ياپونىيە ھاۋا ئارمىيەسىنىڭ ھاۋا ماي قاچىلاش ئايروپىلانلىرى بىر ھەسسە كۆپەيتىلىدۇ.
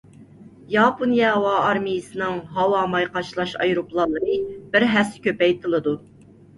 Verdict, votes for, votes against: accepted, 2, 0